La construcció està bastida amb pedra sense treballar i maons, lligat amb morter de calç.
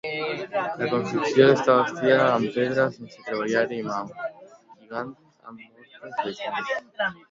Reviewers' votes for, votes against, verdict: 0, 2, rejected